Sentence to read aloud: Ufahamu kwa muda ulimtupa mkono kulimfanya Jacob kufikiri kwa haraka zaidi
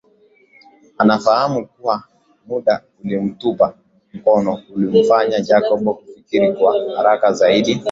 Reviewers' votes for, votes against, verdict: 1, 2, rejected